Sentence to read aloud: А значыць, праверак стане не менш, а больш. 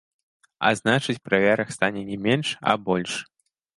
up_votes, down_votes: 2, 0